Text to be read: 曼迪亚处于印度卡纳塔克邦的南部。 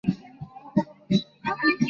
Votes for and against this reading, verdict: 0, 3, rejected